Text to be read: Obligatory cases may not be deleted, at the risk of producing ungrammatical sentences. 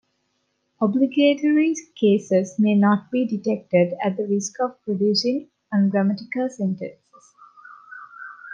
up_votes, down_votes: 0, 2